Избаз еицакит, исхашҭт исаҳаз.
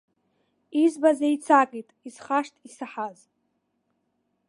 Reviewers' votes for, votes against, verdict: 3, 0, accepted